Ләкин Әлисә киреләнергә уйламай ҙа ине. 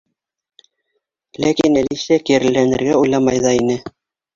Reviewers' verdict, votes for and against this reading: rejected, 1, 2